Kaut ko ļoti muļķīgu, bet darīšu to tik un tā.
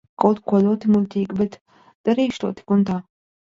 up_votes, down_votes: 0, 2